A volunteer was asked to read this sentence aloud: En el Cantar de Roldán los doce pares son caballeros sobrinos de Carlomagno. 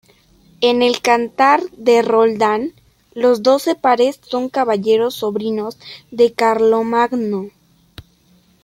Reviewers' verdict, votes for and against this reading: accepted, 2, 0